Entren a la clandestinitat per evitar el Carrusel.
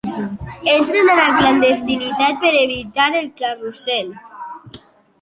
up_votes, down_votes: 0, 2